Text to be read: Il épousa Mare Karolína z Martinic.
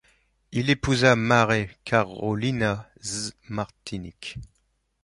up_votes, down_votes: 1, 2